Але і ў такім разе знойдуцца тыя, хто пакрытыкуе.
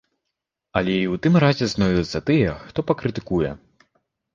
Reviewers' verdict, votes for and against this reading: rejected, 1, 2